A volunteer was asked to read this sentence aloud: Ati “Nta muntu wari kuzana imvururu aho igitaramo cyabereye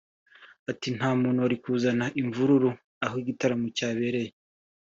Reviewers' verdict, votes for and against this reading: accepted, 2, 0